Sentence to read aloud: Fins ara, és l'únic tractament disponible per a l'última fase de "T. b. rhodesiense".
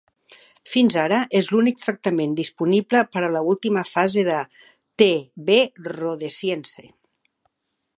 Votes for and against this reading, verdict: 1, 2, rejected